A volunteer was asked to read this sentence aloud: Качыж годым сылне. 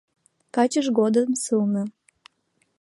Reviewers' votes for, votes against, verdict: 2, 1, accepted